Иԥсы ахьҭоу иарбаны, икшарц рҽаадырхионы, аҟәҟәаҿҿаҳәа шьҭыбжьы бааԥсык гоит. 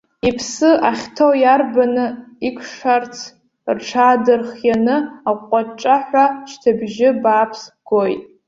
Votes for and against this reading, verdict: 0, 2, rejected